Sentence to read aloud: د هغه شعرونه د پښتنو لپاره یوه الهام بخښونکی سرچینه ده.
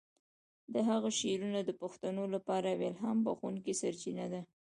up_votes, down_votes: 1, 2